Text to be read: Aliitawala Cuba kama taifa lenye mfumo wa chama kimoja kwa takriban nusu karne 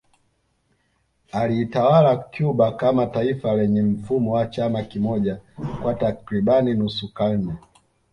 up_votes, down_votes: 2, 0